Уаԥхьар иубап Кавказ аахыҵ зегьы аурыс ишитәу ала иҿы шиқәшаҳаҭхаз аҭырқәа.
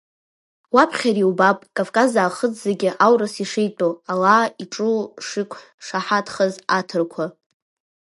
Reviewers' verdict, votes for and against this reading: accepted, 3, 1